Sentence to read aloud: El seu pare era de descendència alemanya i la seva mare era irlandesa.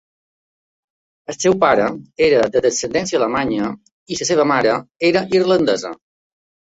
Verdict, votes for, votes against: accepted, 2, 0